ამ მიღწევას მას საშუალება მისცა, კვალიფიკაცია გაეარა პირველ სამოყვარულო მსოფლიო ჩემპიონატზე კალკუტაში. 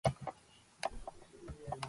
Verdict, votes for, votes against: rejected, 0, 2